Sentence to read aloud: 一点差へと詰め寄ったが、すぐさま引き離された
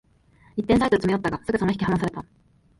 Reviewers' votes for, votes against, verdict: 2, 1, accepted